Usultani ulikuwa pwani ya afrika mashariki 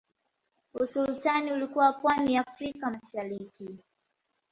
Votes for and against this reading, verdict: 2, 0, accepted